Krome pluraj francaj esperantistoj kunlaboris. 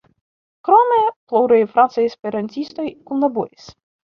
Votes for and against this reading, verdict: 0, 2, rejected